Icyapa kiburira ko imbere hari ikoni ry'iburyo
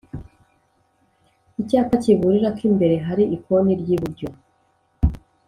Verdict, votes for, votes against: accepted, 3, 0